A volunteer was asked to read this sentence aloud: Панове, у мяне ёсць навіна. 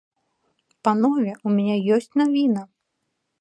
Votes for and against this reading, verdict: 2, 0, accepted